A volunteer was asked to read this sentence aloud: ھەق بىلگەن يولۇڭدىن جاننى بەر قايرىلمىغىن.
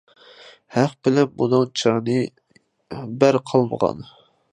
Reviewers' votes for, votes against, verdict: 0, 2, rejected